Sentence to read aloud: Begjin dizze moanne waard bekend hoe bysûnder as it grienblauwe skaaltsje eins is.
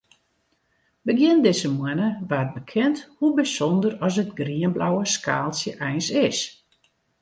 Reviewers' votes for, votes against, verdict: 2, 0, accepted